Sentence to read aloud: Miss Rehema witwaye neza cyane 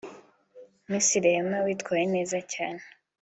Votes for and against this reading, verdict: 2, 0, accepted